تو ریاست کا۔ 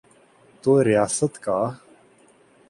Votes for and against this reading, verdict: 12, 1, accepted